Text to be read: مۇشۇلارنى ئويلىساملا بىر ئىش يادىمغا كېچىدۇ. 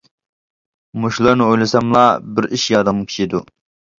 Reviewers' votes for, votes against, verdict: 0, 2, rejected